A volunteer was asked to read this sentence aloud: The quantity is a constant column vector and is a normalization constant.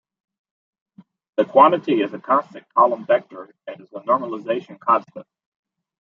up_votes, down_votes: 0, 2